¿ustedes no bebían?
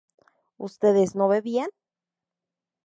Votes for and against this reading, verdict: 2, 0, accepted